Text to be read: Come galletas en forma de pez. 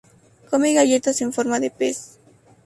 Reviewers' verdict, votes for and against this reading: accepted, 2, 0